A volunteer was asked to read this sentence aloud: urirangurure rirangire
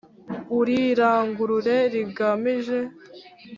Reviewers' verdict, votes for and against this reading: rejected, 1, 2